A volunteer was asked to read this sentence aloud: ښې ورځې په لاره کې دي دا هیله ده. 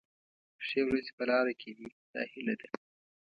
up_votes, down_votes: 2, 0